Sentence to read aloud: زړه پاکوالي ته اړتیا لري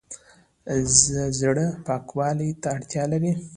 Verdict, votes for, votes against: accepted, 2, 0